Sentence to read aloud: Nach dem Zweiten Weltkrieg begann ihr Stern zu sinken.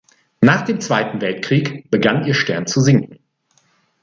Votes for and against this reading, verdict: 2, 0, accepted